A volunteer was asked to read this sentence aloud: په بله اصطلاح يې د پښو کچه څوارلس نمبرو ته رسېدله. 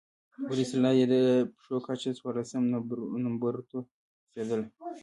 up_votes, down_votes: 0, 2